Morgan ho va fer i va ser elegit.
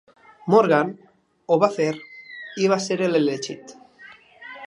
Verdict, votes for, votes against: rejected, 1, 2